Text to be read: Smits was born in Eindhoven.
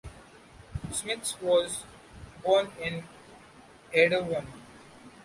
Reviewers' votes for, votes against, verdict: 0, 2, rejected